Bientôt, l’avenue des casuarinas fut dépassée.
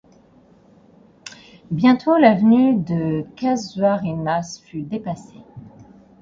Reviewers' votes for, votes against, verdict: 2, 4, rejected